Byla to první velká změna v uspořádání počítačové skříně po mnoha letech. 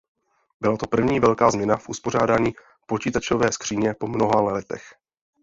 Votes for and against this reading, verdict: 0, 2, rejected